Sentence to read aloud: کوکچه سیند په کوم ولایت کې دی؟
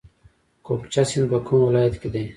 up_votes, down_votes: 2, 0